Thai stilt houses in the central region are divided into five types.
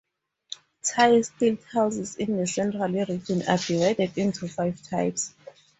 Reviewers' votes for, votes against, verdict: 2, 0, accepted